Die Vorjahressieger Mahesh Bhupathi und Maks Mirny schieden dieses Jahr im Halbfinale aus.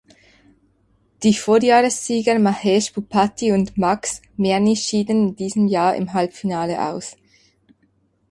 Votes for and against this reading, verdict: 2, 4, rejected